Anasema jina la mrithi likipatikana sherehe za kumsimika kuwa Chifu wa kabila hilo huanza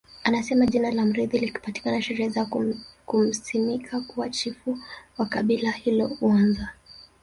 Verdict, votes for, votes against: accepted, 5, 1